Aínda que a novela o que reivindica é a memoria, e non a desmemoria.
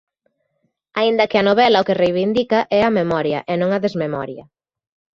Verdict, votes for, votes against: accepted, 2, 0